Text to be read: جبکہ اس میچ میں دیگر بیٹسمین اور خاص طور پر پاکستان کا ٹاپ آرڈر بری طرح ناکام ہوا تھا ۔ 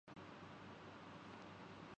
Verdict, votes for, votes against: rejected, 0, 2